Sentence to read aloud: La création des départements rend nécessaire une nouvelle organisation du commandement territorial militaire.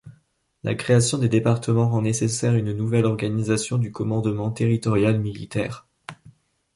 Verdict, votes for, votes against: accepted, 2, 0